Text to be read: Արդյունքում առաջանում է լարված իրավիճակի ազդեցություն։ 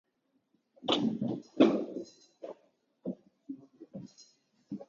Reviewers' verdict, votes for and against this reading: rejected, 0, 2